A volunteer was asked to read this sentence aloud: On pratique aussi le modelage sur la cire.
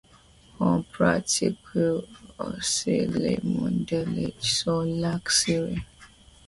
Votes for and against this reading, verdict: 0, 2, rejected